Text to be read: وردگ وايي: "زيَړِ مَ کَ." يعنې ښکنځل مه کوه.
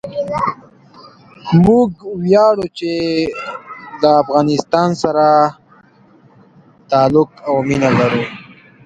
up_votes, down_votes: 0, 2